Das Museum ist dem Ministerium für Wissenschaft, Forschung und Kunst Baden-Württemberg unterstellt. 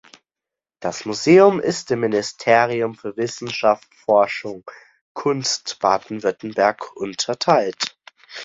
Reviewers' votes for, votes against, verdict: 0, 2, rejected